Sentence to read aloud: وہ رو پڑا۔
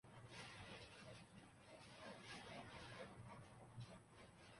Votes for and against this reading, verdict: 0, 2, rejected